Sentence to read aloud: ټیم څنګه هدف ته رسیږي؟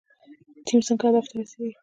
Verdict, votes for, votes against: accepted, 2, 0